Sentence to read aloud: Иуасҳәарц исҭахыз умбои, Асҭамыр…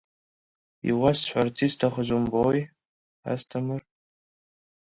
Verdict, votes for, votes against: accepted, 2, 0